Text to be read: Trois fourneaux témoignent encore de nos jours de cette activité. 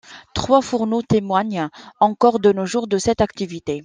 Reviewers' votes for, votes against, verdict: 2, 0, accepted